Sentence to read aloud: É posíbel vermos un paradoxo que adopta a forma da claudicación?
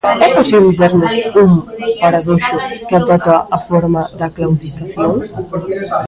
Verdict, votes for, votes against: rejected, 1, 2